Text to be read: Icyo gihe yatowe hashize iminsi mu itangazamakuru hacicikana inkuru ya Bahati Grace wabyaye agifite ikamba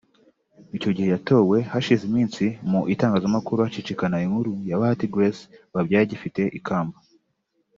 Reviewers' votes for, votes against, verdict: 2, 0, accepted